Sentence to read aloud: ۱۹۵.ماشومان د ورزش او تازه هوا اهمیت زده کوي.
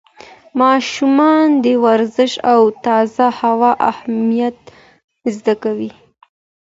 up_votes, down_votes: 0, 2